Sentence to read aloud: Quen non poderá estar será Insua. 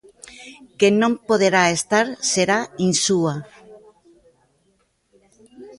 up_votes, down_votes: 0, 2